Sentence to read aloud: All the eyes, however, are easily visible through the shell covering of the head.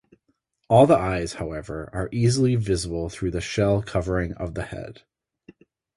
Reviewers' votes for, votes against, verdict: 4, 0, accepted